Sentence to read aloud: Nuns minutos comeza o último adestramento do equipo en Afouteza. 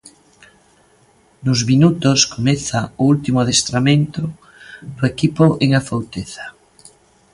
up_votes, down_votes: 2, 0